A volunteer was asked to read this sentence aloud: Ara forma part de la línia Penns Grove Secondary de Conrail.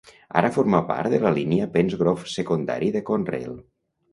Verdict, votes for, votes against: accepted, 3, 0